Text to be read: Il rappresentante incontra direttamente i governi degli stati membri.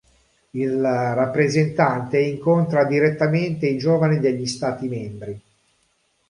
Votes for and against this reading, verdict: 0, 2, rejected